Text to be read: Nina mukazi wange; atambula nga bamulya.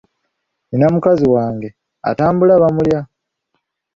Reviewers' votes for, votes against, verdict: 1, 2, rejected